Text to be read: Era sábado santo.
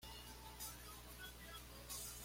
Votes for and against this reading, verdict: 1, 2, rejected